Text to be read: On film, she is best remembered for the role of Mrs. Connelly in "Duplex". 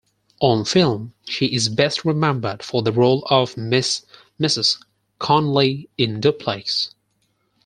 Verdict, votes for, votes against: rejected, 0, 6